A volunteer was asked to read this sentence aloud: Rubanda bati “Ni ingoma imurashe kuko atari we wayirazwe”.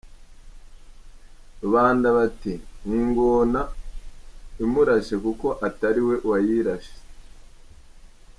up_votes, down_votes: 0, 2